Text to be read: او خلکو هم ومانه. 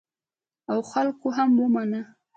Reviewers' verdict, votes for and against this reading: accepted, 2, 0